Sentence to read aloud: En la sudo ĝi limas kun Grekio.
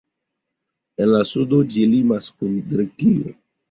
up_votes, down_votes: 1, 2